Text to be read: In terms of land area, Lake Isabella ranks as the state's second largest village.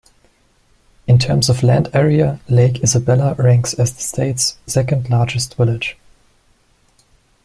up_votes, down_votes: 2, 0